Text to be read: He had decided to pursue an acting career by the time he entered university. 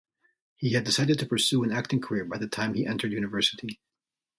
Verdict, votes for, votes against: accepted, 2, 0